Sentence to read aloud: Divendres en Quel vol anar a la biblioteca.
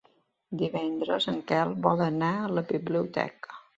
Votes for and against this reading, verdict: 3, 0, accepted